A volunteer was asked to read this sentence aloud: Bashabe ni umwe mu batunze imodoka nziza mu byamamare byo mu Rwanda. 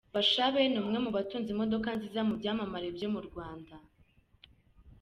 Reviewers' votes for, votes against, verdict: 2, 0, accepted